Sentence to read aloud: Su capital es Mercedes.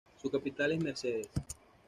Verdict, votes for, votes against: accepted, 2, 0